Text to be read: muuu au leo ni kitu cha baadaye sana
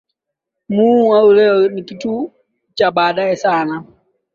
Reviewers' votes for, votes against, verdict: 4, 5, rejected